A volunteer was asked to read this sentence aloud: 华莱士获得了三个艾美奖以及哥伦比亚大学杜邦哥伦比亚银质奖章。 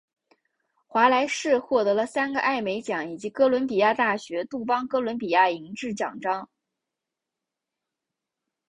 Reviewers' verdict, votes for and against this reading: accepted, 5, 0